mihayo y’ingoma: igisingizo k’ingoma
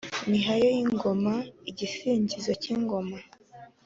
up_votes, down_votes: 2, 0